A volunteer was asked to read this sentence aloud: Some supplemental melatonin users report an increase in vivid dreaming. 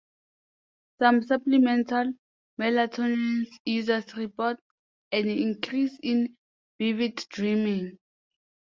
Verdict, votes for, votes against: accepted, 2, 0